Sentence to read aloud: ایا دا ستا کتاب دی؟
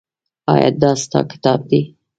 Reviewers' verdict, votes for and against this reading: rejected, 1, 2